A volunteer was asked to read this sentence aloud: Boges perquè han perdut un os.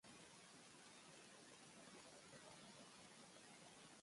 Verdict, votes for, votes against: rejected, 0, 3